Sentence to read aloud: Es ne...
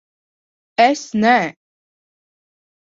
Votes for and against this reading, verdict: 1, 2, rejected